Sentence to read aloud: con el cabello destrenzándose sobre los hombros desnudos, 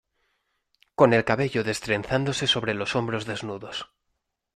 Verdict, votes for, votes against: accepted, 2, 0